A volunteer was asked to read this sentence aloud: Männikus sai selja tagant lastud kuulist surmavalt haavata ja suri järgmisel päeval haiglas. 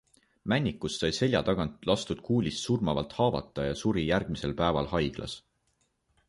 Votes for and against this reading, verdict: 2, 0, accepted